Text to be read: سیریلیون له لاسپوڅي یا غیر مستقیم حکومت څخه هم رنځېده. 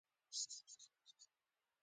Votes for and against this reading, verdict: 1, 2, rejected